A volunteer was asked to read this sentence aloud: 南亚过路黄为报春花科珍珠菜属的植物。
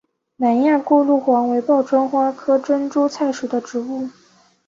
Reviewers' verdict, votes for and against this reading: accepted, 4, 0